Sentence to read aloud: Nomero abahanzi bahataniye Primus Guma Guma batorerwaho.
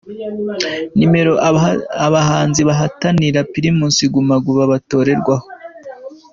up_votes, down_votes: 2, 1